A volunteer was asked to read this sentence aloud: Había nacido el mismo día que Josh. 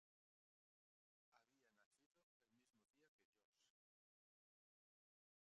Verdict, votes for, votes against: rejected, 0, 2